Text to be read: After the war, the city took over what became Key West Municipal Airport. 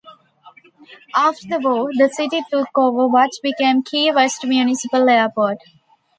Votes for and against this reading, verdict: 2, 0, accepted